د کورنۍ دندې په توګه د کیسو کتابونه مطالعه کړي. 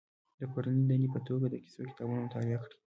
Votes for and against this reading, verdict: 2, 0, accepted